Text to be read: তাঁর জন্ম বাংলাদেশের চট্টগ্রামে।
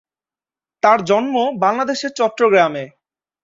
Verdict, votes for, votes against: accepted, 2, 0